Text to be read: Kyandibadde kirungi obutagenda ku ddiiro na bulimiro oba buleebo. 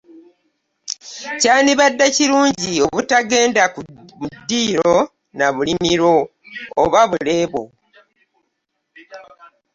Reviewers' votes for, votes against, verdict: 0, 2, rejected